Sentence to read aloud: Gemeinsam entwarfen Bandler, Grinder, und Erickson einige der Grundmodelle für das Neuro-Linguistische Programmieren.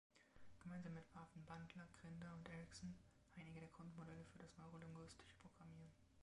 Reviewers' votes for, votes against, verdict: 2, 1, accepted